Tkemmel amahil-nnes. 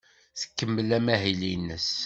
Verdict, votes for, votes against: accepted, 2, 0